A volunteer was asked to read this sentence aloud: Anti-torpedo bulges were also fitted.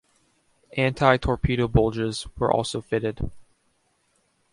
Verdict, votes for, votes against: accepted, 2, 0